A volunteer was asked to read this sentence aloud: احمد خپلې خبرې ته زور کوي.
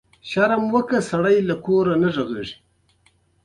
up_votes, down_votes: 1, 2